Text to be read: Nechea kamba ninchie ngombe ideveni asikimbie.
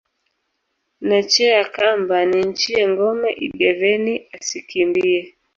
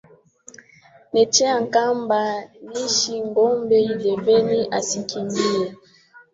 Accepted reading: first